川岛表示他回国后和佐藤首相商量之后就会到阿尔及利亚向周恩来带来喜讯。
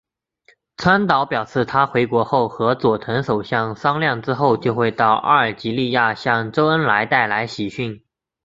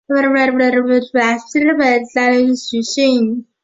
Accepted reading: first